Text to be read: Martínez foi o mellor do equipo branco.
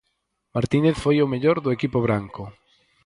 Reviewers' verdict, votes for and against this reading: accepted, 4, 0